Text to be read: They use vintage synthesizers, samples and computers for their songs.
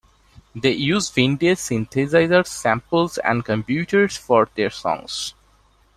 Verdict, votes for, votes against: rejected, 1, 2